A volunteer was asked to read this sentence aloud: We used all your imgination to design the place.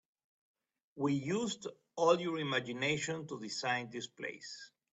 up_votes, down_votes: 1, 2